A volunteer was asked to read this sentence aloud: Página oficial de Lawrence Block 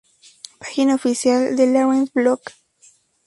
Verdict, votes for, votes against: accepted, 2, 0